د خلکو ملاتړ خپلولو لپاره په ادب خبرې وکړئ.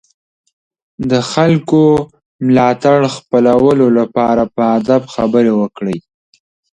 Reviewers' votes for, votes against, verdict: 2, 0, accepted